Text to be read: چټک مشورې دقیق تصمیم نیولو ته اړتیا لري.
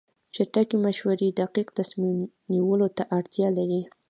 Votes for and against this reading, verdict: 1, 2, rejected